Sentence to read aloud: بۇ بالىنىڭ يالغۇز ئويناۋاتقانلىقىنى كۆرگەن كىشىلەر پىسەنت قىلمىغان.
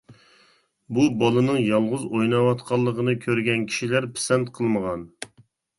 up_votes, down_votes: 2, 0